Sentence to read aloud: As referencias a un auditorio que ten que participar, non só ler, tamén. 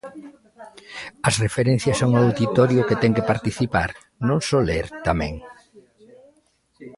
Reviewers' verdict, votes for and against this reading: rejected, 1, 2